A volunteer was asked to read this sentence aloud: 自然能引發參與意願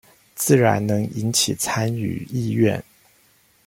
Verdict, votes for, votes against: rejected, 0, 2